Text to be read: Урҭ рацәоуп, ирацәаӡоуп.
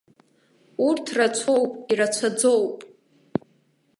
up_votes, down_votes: 2, 0